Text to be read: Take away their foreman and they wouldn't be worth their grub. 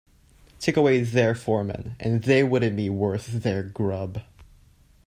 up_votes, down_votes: 2, 0